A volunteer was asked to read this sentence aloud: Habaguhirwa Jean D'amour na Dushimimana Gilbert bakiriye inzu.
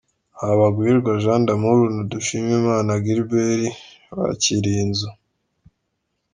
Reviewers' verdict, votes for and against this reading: accepted, 2, 0